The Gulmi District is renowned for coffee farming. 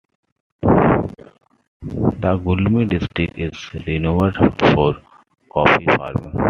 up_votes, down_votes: 2, 1